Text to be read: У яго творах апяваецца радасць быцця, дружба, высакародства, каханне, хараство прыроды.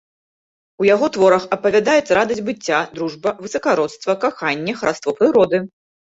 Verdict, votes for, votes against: rejected, 0, 2